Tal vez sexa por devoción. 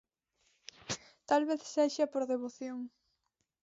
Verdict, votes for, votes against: accepted, 4, 0